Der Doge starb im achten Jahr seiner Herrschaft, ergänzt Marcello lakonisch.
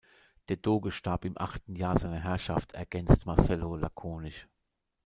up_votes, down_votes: 0, 2